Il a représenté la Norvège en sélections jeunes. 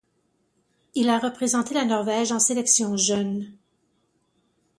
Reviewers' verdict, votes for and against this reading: accepted, 4, 2